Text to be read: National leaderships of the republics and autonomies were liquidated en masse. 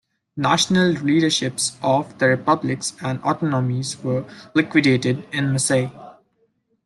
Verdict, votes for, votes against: rejected, 0, 2